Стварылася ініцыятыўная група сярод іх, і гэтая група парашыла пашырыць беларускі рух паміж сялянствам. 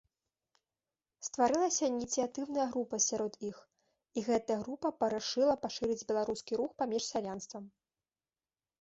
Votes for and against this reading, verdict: 2, 0, accepted